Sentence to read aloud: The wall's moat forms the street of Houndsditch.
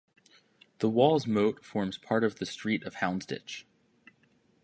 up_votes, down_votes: 2, 1